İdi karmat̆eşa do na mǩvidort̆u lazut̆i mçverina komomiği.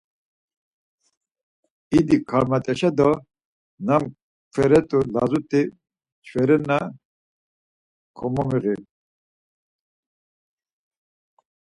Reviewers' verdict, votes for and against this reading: rejected, 2, 4